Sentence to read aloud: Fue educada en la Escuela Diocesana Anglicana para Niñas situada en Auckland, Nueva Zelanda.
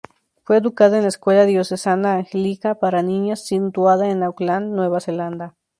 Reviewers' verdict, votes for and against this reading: rejected, 0, 2